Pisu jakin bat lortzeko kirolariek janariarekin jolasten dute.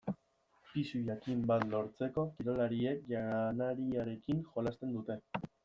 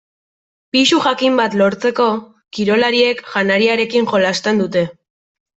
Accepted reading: second